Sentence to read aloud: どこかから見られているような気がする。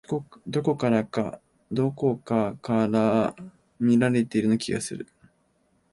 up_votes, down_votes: 0, 2